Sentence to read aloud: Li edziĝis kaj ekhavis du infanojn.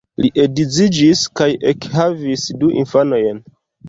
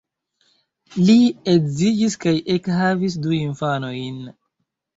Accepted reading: first